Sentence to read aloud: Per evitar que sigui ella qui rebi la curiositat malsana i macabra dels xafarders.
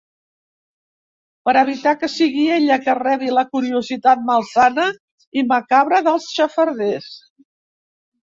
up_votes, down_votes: 1, 2